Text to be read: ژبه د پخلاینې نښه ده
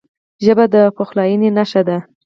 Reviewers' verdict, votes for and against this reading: rejected, 0, 4